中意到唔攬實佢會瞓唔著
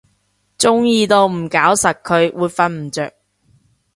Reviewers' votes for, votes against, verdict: 0, 2, rejected